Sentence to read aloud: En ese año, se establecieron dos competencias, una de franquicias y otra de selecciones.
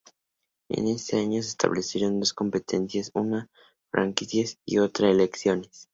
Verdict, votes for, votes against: rejected, 0, 2